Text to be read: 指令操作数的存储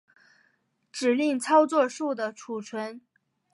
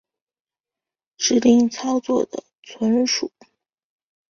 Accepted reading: first